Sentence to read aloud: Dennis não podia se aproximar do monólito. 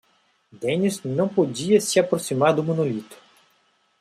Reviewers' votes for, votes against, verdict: 1, 2, rejected